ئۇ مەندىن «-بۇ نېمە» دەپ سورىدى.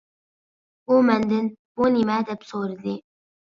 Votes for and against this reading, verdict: 2, 0, accepted